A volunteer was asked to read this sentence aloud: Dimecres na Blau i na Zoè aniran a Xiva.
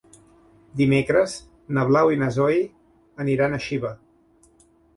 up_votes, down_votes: 1, 2